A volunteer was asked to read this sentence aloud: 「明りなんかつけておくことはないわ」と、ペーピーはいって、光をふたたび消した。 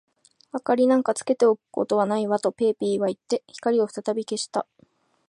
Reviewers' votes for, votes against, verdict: 2, 0, accepted